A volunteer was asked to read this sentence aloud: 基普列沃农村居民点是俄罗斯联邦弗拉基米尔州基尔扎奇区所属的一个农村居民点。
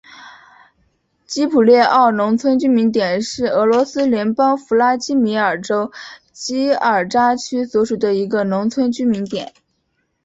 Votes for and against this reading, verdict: 3, 0, accepted